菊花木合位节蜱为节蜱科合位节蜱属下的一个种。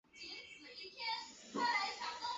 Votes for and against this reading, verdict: 0, 3, rejected